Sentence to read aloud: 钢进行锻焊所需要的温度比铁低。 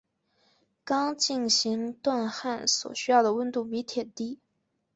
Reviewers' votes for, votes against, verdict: 2, 1, accepted